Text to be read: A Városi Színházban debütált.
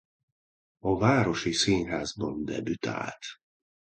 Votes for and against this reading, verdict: 2, 0, accepted